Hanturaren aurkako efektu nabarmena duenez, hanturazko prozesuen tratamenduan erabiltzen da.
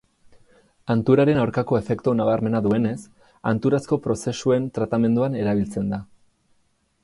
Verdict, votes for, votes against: accepted, 4, 2